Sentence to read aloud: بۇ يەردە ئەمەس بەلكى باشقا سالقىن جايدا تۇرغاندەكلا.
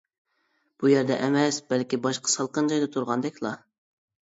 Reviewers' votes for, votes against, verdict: 2, 1, accepted